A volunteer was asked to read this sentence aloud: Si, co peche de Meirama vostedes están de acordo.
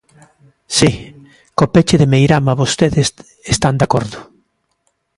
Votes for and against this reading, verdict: 2, 1, accepted